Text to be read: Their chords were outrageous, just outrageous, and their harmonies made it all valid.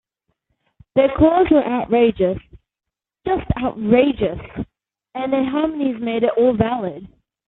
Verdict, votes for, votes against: accepted, 2, 0